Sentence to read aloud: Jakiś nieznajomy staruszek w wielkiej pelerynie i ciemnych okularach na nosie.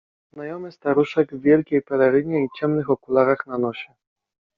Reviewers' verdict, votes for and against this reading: rejected, 0, 2